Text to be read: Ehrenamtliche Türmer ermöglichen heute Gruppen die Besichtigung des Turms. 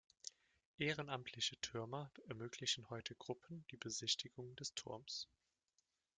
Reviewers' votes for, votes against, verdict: 0, 2, rejected